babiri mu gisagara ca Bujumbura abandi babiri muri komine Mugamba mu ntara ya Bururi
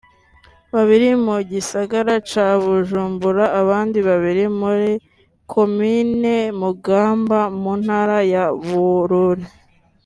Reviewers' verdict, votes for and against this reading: accepted, 3, 0